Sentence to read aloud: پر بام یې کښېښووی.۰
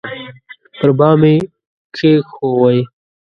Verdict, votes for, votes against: rejected, 0, 2